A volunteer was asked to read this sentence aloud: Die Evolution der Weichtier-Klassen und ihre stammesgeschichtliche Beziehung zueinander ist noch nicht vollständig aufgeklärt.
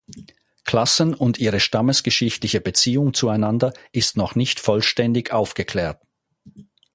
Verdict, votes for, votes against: rejected, 0, 4